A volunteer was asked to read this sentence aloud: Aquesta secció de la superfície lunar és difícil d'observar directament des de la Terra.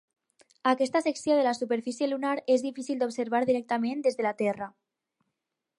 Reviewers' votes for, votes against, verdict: 2, 0, accepted